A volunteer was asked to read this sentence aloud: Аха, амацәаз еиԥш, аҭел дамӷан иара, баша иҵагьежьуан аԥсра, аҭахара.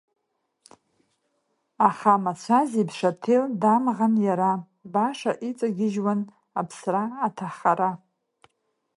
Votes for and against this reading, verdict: 3, 1, accepted